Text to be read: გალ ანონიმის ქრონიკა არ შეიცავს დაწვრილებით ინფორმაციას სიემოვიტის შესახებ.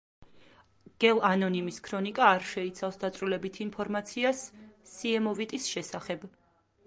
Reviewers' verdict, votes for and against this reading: rejected, 1, 2